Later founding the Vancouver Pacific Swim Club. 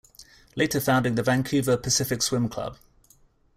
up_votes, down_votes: 2, 0